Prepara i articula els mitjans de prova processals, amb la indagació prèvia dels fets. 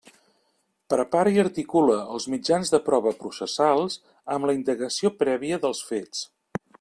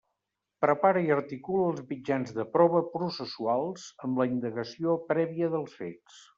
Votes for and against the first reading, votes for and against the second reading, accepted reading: 2, 0, 0, 2, first